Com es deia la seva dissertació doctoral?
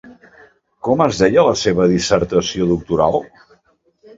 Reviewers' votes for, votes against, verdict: 2, 0, accepted